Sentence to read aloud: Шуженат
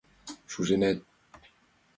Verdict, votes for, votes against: accepted, 5, 1